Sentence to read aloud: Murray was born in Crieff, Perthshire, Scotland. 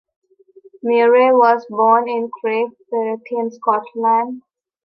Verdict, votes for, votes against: rejected, 0, 2